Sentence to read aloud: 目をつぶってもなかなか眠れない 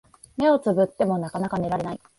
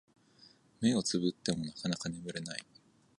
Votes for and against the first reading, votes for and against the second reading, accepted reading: 7, 2, 1, 2, first